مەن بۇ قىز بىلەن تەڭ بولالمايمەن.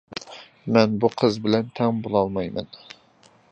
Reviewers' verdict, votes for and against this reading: accepted, 2, 0